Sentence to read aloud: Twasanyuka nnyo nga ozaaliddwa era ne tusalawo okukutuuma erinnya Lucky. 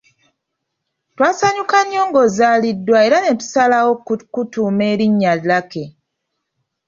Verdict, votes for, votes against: rejected, 1, 2